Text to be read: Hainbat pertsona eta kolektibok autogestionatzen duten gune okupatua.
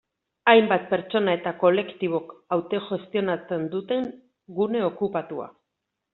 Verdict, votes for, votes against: rejected, 0, 2